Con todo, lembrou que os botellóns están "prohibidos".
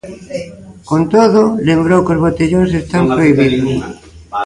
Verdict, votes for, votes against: accepted, 2, 0